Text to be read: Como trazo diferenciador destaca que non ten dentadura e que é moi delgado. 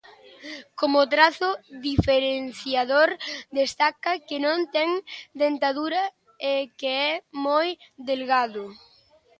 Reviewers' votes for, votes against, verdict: 2, 0, accepted